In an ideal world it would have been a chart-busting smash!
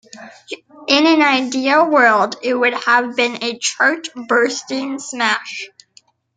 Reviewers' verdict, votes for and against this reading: accepted, 2, 1